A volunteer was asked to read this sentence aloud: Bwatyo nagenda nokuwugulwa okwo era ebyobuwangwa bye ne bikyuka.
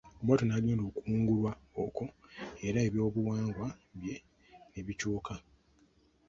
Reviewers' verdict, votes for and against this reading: rejected, 0, 2